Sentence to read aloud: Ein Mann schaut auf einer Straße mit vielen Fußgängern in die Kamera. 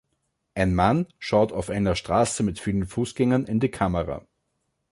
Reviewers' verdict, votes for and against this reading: accepted, 2, 0